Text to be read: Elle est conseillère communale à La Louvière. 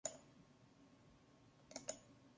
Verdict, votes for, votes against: rejected, 1, 2